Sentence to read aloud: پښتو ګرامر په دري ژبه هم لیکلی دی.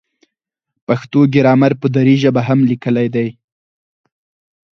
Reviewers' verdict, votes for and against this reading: accepted, 4, 2